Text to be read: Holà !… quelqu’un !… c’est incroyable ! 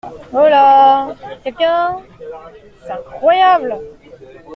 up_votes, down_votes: 2, 0